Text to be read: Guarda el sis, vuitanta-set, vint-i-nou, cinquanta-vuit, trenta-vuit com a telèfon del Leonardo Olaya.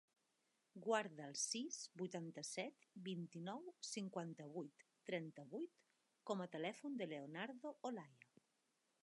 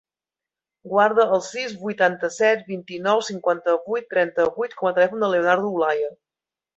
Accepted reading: second